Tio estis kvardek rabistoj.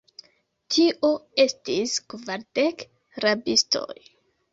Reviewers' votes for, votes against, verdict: 2, 1, accepted